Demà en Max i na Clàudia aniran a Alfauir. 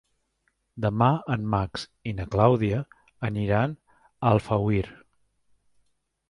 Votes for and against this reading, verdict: 2, 0, accepted